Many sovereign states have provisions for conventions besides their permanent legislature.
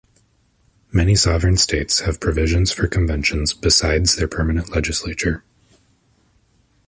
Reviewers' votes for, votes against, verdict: 2, 0, accepted